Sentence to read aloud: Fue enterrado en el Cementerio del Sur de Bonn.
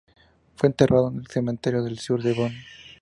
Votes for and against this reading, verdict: 4, 0, accepted